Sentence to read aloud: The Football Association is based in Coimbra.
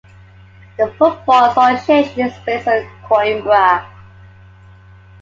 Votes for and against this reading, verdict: 0, 2, rejected